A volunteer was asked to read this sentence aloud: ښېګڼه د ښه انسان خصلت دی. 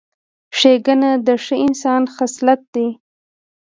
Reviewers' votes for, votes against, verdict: 2, 0, accepted